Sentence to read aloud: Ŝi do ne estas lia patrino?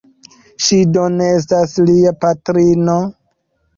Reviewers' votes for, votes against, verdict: 0, 2, rejected